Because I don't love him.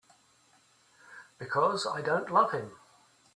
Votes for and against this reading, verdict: 2, 1, accepted